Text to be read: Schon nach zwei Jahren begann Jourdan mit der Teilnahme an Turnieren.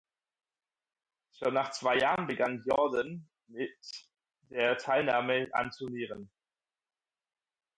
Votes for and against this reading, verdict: 4, 2, accepted